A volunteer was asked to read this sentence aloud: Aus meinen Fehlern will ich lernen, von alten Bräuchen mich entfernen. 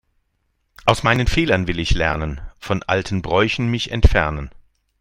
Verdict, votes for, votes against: accepted, 4, 0